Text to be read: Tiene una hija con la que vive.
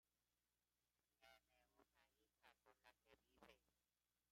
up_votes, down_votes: 0, 2